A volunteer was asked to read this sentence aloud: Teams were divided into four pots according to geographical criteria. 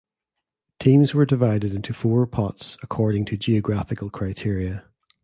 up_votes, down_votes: 2, 0